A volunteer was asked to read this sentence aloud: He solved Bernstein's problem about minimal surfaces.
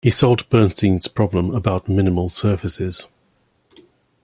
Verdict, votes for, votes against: accepted, 2, 0